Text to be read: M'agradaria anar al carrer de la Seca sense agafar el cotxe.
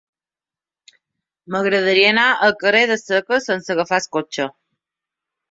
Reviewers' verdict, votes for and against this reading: rejected, 0, 2